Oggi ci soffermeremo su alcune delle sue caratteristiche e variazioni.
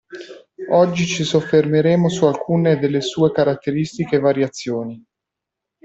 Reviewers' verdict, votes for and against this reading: accepted, 2, 0